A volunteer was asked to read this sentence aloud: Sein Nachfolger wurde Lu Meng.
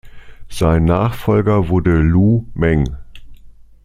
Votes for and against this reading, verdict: 2, 0, accepted